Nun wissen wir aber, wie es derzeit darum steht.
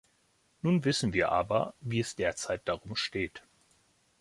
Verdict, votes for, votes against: accepted, 2, 0